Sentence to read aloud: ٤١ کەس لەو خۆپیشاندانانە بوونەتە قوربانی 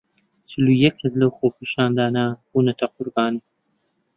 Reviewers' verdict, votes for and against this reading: rejected, 0, 2